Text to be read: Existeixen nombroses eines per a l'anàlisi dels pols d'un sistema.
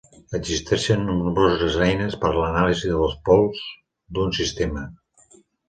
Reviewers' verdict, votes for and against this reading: rejected, 1, 2